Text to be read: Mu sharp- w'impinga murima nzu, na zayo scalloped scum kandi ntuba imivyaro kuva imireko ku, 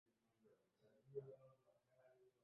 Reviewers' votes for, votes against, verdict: 0, 2, rejected